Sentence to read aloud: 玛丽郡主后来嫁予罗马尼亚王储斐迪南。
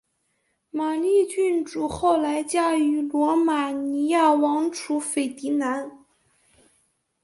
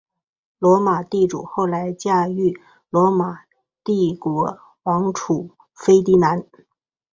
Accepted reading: first